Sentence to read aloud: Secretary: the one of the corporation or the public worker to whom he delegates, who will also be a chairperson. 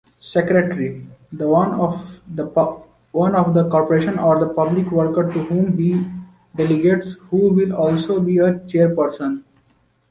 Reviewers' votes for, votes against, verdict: 0, 2, rejected